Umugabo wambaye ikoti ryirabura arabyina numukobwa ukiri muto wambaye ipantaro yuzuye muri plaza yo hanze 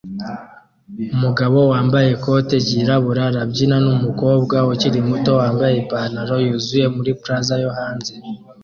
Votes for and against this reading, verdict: 2, 0, accepted